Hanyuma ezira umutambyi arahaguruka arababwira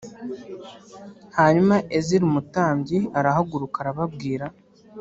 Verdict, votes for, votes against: accepted, 2, 0